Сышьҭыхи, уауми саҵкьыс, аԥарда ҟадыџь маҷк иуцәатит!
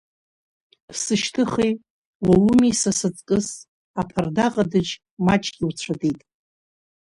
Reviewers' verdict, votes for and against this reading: rejected, 3, 7